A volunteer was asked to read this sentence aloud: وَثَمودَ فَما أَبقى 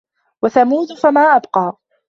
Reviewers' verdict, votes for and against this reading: rejected, 1, 2